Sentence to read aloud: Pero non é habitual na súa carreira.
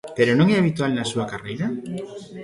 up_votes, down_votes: 1, 2